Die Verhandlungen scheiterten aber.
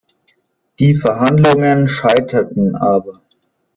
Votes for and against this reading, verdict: 1, 2, rejected